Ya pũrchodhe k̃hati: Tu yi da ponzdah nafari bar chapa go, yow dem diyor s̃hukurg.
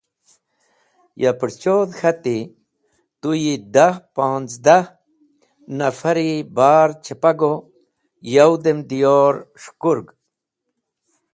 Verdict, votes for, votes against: accepted, 2, 0